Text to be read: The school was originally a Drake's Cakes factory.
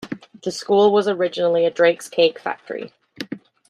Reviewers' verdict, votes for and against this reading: rejected, 0, 2